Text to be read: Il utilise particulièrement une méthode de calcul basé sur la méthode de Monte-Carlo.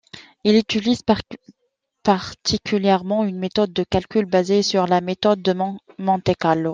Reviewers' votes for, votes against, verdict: 1, 2, rejected